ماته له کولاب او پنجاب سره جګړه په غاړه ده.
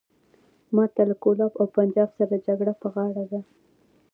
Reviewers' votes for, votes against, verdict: 1, 2, rejected